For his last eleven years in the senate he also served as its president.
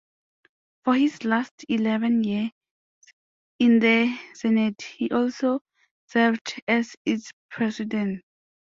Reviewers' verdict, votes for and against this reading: rejected, 0, 2